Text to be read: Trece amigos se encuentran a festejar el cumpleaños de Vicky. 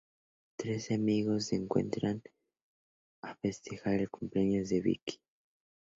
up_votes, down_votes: 2, 0